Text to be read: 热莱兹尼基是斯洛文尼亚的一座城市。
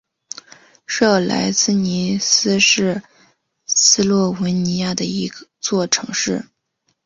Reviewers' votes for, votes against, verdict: 3, 0, accepted